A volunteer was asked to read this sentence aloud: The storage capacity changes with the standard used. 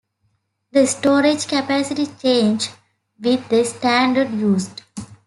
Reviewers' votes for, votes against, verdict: 1, 2, rejected